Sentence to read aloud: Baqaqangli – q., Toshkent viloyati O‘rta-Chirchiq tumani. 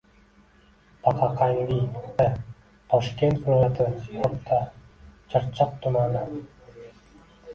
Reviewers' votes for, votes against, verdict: 0, 2, rejected